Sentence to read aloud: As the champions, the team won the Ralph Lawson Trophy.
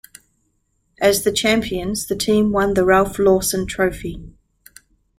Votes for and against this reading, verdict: 3, 0, accepted